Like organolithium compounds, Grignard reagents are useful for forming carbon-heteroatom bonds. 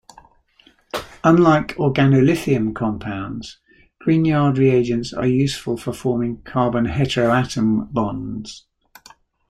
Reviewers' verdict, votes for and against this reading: rejected, 0, 2